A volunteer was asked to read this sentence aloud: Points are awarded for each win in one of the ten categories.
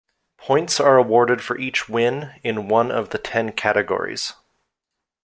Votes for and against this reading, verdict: 2, 0, accepted